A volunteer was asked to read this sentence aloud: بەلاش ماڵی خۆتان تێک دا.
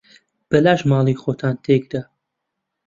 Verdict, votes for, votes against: accepted, 2, 0